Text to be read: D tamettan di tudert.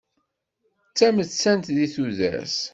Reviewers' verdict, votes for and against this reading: rejected, 1, 2